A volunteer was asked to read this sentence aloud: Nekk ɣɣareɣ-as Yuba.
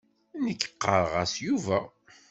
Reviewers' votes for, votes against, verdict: 1, 2, rejected